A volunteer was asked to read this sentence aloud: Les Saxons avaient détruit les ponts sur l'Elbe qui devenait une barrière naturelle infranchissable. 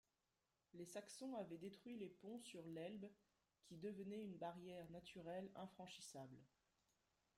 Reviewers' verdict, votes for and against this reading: rejected, 1, 2